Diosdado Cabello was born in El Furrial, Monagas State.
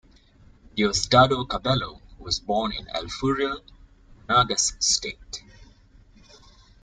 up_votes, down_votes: 1, 2